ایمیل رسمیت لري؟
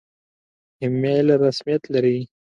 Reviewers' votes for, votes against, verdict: 2, 1, accepted